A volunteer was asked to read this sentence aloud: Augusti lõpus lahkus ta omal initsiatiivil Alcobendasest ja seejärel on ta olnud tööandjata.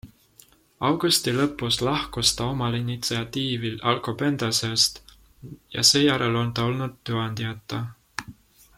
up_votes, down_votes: 2, 0